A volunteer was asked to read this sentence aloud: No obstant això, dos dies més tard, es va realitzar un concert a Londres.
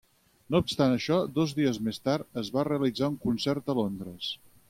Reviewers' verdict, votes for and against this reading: accepted, 6, 0